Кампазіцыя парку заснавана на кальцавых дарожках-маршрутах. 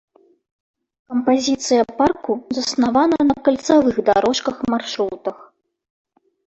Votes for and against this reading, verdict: 1, 2, rejected